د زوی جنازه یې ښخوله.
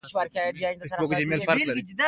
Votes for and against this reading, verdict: 2, 1, accepted